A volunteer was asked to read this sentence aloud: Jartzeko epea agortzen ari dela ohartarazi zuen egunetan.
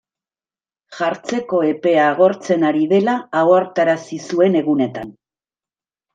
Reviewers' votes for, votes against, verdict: 1, 2, rejected